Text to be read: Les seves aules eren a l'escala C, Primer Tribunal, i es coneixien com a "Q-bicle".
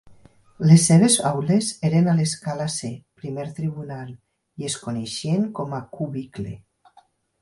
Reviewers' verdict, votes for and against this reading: accepted, 8, 0